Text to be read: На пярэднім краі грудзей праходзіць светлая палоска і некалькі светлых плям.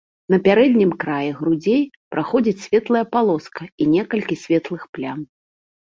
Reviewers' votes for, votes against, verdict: 2, 0, accepted